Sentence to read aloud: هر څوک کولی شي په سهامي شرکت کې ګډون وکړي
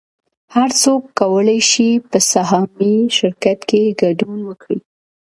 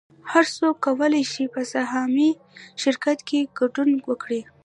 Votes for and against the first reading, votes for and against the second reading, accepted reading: 2, 0, 1, 2, first